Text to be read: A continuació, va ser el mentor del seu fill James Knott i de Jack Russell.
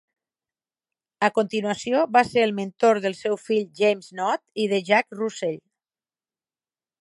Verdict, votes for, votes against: rejected, 2, 4